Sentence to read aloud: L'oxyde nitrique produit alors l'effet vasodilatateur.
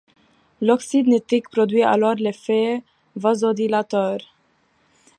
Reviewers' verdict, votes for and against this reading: rejected, 0, 2